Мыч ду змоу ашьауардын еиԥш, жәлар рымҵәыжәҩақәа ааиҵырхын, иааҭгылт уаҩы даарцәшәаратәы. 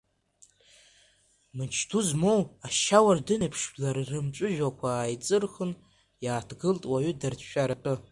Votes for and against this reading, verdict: 1, 2, rejected